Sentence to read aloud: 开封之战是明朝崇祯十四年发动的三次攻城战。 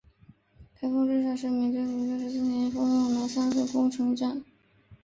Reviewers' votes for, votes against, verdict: 0, 2, rejected